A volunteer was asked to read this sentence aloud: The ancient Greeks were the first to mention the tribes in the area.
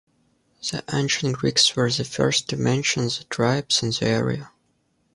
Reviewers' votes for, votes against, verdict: 0, 2, rejected